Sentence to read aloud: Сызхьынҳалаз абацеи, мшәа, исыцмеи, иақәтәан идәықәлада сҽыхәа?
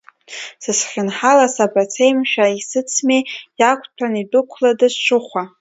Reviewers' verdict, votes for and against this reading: accepted, 2, 1